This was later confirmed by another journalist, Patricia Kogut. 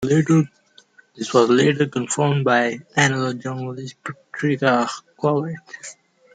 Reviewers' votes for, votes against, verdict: 0, 2, rejected